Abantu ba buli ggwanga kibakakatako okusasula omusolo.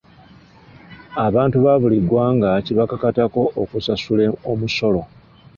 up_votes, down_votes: 1, 2